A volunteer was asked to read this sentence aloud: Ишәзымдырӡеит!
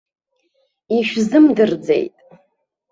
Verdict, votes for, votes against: accepted, 3, 0